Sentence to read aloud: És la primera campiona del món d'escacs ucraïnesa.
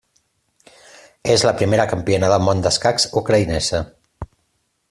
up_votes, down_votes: 3, 0